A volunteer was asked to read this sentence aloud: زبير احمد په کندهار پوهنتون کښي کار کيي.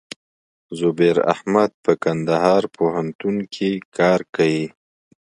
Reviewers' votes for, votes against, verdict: 2, 0, accepted